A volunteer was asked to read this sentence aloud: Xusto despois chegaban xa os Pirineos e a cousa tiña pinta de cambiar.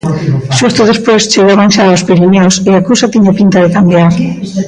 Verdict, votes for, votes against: rejected, 0, 2